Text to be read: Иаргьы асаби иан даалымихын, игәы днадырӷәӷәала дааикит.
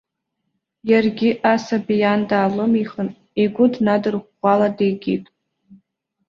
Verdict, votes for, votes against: rejected, 0, 2